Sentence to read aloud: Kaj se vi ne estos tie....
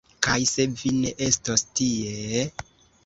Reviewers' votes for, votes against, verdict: 2, 1, accepted